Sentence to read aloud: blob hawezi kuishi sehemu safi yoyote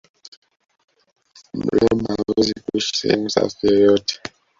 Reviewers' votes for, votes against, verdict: 0, 2, rejected